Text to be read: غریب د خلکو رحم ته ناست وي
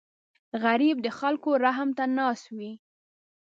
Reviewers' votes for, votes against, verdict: 2, 0, accepted